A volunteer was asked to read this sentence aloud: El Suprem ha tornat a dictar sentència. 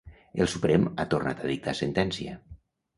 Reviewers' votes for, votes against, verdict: 3, 0, accepted